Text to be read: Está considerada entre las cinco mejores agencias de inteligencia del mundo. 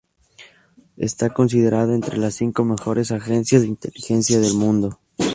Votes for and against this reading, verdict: 0, 2, rejected